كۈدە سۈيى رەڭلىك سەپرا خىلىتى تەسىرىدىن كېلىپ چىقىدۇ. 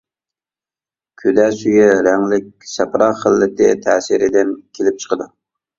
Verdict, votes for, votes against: accepted, 2, 0